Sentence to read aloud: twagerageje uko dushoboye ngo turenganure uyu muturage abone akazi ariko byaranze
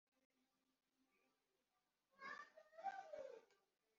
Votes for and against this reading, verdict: 0, 2, rejected